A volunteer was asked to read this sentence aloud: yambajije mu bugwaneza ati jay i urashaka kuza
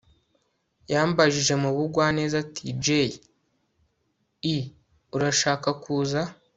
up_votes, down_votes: 2, 0